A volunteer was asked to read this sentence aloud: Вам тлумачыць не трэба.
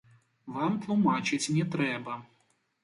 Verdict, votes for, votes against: rejected, 1, 2